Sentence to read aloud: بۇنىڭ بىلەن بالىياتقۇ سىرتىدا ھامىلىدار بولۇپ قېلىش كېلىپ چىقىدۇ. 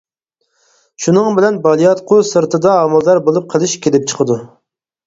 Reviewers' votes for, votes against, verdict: 0, 4, rejected